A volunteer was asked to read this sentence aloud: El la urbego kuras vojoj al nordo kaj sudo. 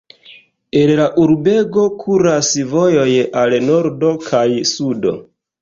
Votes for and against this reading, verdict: 2, 0, accepted